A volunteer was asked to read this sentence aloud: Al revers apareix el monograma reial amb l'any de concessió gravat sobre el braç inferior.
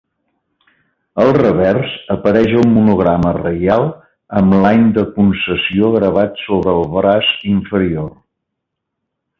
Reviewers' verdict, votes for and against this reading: accepted, 4, 3